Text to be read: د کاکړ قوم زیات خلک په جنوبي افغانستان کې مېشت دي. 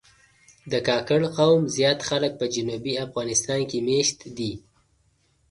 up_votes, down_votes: 2, 0